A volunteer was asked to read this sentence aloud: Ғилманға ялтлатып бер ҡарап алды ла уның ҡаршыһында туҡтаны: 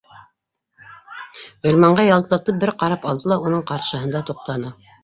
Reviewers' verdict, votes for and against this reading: rejected, 1, 3